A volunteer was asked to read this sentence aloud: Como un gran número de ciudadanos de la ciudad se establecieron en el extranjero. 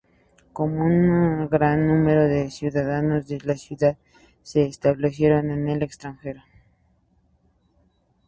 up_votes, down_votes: 6, 2